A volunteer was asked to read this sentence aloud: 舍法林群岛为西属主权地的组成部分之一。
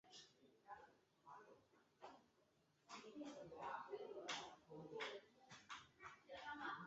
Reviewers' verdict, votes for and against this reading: rejected, 0, 2